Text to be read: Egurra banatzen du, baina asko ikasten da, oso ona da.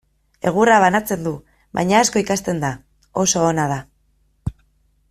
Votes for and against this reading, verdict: 2, 0, accepted